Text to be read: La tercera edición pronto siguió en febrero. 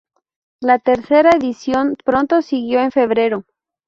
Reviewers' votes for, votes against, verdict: 2, 0, accepted